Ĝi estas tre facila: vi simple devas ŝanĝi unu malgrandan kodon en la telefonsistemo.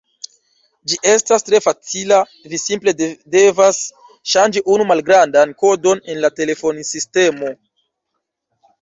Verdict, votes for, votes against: rejected, 0, 2